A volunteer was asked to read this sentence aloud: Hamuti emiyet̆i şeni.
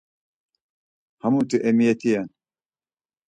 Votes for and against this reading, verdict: 0, 4, rejected